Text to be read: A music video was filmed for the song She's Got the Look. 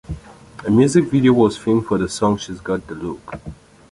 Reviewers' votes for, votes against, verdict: 2, 0, accepted